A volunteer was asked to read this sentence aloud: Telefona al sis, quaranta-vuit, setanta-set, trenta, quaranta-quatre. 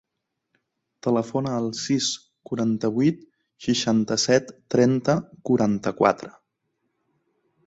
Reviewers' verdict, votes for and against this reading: rejected, 1, 4